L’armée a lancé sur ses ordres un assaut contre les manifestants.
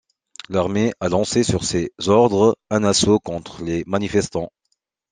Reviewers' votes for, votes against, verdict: 3, 1, accepted